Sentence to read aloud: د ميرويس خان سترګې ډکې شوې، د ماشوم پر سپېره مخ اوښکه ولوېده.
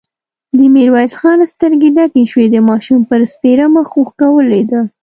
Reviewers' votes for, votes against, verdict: 2, 0, accepted